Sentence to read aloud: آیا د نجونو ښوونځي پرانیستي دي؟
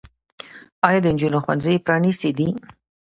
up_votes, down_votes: 2, 0